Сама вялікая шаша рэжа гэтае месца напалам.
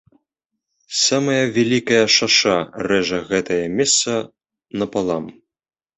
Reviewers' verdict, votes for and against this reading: rejected, 0, 2